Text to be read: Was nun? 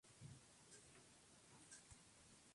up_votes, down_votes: 0, 3